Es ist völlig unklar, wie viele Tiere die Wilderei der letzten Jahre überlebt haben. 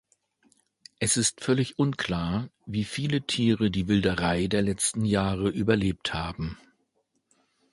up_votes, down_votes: 2, 0